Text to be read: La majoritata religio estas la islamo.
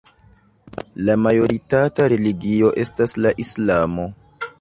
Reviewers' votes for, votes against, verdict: 2, 0, accepted